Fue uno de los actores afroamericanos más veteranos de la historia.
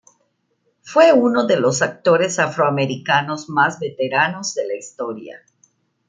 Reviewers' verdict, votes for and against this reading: accepted, 2, 0